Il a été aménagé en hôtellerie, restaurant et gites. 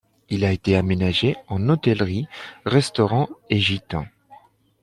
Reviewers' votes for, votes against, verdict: 2, 0, accepted